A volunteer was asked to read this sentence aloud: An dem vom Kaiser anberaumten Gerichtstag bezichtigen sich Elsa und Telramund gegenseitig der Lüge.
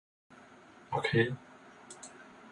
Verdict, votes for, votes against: rejected, 0, 2